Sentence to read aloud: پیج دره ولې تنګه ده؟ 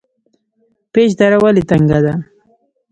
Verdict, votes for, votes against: accepted, 2, 0